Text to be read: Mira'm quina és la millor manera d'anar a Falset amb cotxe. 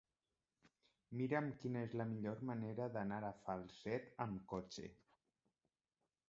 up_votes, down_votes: 1, 2